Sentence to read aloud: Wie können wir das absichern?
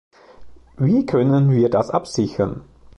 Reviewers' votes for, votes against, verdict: 2, 0, accepted